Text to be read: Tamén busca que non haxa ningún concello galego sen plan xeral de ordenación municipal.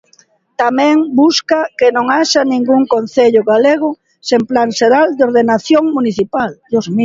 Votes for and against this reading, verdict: 1, 2, rejected